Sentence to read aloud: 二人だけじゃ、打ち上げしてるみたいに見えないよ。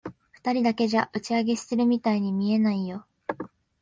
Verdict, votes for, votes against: accepted, 2, 0